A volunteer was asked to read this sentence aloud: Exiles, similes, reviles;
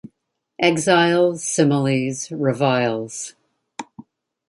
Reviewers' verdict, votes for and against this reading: rejected, 1, 2